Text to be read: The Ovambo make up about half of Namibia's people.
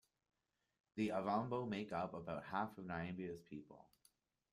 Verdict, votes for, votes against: accepted, 2, 1